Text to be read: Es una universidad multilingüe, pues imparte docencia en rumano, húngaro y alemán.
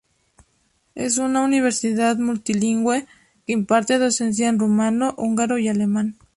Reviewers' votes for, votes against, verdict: 0, 2, rejected